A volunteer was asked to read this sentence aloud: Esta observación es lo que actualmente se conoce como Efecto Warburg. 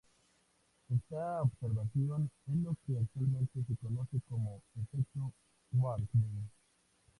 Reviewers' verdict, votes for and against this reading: rejected, 0, 2